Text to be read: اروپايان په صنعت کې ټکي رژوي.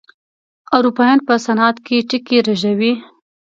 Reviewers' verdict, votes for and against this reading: accepted, 2, 0